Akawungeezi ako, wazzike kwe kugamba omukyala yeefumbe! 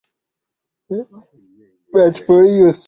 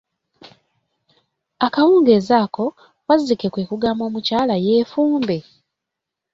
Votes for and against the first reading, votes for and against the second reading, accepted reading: 1, 2, 2, 0, second